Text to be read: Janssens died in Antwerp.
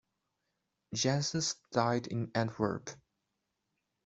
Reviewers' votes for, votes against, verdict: 2, 0, accepted